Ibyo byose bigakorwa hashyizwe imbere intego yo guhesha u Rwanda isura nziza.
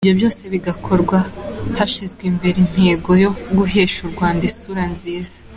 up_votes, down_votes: 3, 0